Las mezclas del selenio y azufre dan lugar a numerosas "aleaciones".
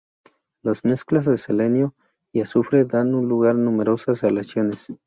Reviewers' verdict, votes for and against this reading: rejected, 0, 2